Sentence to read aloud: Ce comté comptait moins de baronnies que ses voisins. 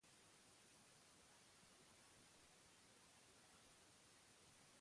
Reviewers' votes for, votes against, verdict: 0, 2, rejected